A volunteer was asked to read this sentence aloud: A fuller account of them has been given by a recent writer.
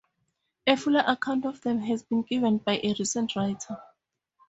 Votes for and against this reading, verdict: 2, 0, accepted